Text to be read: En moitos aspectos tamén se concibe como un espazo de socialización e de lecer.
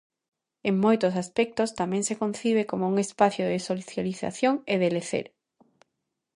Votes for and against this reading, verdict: 0, 2, rejected